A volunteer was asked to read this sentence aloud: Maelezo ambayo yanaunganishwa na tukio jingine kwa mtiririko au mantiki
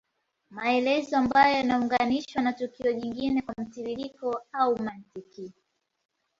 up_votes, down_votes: 2, 0